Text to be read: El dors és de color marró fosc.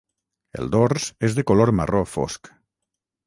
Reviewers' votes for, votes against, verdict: 3, 3, rejected